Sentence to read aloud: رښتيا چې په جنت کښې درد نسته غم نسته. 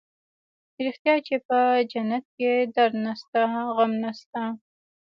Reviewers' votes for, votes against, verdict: 1, 2, rejected